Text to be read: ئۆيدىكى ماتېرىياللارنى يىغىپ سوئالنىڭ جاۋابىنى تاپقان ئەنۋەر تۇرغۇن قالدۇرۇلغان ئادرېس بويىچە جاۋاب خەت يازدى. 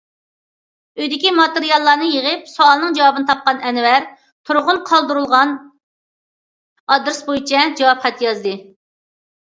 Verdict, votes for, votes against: accepted, 2, 0